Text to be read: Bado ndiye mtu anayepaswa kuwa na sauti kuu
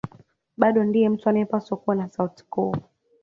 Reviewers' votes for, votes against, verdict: 2, 0, accepted